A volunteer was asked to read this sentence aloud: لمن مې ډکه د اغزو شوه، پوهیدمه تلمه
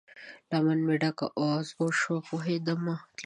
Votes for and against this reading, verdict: 1, 2, rejected